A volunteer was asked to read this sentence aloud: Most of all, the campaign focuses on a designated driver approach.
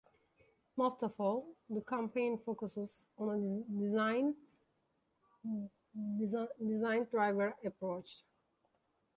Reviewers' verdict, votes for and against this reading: rejected, 0, 2